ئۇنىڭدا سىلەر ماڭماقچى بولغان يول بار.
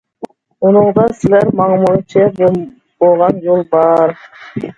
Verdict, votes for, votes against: rejected, 1, 2